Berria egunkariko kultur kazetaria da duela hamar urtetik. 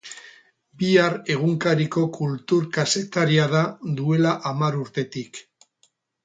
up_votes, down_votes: 0, 6